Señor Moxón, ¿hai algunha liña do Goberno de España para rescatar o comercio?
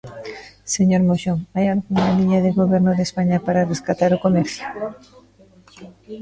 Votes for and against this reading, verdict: 0, 3, rejected